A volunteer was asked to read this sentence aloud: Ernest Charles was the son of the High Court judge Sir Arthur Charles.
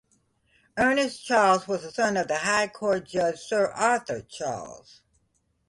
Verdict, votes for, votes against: accepted, 2, 0